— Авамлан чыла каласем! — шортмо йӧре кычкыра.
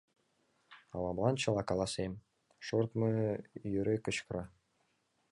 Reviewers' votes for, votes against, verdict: 1, 2, rejected